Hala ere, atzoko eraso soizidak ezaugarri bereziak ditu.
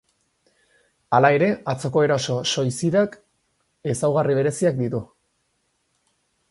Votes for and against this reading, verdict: 4, 0, accepted